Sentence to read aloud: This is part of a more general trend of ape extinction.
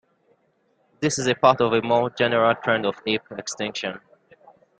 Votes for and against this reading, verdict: 0, 2, rejected